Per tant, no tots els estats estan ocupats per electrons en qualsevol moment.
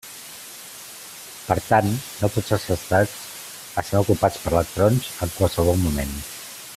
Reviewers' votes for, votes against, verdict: 1, 2, rejected